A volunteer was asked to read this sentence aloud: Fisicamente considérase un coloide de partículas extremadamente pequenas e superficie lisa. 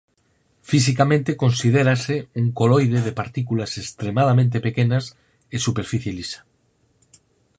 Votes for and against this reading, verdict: 4, 0, accepted